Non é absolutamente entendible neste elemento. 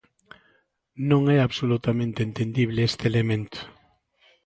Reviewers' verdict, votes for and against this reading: rejected, 1, 2